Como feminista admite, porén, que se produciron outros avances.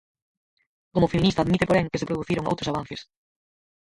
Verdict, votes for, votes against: rejected, 0, 4